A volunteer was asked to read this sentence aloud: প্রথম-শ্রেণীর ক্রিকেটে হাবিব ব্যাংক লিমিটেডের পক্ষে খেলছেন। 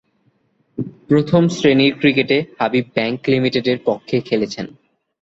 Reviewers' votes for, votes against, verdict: 0, 2, rejected